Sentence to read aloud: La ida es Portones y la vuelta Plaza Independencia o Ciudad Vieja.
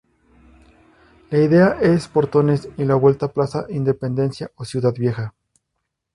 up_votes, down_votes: 0, 2